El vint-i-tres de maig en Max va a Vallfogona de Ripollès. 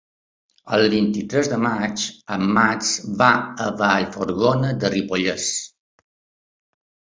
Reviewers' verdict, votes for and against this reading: rejected, 0, 2